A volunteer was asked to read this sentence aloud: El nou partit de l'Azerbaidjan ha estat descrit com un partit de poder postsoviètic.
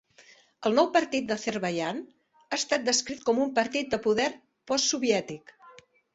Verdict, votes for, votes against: accepted, 2, 0